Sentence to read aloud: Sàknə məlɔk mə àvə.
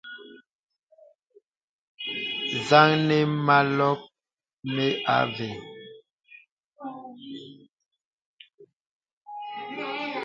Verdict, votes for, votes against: rejected, 1, 2